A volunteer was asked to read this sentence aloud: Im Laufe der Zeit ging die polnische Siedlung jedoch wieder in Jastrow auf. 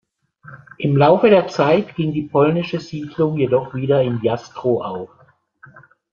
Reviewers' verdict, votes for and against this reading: accepted, 2, 0